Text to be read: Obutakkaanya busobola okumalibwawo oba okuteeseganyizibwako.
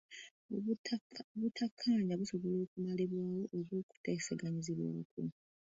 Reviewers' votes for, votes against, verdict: 1, 2, rejected